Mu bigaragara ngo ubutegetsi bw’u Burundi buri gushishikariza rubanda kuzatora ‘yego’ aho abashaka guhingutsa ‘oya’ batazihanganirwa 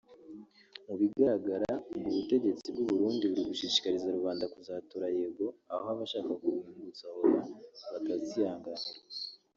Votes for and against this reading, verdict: 1, 2, rejected